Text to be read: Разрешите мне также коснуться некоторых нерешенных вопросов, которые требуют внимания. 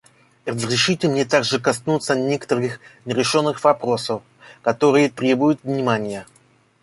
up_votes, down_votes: 1, 2